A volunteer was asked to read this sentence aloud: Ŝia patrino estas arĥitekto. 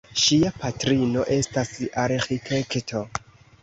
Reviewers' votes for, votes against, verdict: 3, 0, accepted